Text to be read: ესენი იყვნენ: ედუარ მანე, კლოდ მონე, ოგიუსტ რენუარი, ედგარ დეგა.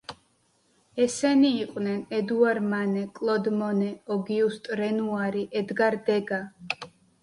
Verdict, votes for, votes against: accepted, 2, 0